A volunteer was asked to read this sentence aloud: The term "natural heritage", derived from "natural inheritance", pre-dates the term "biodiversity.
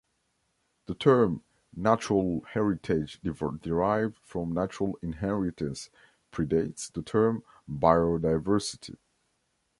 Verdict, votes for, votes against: rejected, 0, 2